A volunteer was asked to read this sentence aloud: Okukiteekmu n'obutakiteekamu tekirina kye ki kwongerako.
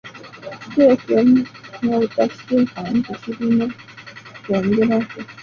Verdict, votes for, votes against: rejected, 0, 2